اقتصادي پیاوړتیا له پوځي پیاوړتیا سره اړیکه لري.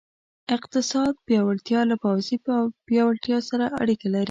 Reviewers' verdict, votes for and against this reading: rejected, 1, 2